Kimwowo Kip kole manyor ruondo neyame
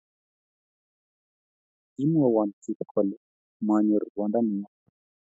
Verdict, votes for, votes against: accepted, 2, 0